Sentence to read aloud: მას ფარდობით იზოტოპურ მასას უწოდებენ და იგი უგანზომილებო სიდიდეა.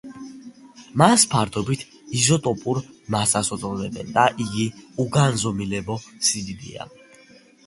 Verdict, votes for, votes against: accepted, 2, 0